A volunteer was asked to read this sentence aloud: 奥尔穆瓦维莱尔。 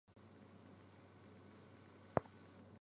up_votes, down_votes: 1, 4